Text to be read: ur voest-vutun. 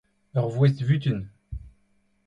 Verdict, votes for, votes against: accepted, 2, 0